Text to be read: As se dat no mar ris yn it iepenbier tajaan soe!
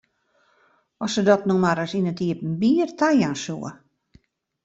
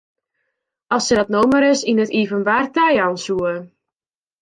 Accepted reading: first